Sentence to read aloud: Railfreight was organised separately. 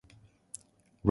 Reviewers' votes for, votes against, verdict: 0, 2, rejected